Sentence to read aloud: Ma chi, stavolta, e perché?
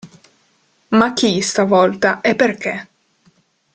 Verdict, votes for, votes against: accepted, 2, 0